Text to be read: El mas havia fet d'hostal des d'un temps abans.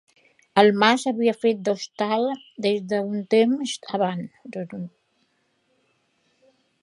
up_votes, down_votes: 1, 2